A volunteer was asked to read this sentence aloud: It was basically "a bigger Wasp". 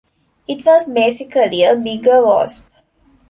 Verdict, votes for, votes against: rejected, 1, 3